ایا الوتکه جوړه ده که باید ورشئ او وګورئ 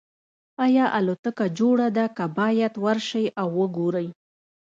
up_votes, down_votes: 0, 2